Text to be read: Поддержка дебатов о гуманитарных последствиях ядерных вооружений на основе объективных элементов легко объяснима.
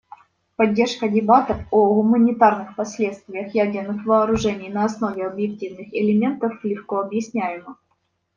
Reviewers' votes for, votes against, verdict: 0, 2, rejected